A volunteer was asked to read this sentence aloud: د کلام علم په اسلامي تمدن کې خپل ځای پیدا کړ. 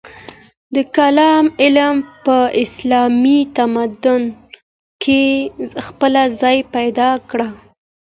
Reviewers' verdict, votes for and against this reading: accepted, 2, 0